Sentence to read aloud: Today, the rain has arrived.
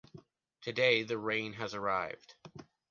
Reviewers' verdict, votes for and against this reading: accepted, 2, 0